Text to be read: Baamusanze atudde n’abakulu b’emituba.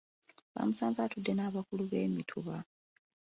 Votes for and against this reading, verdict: 2, 0, accepted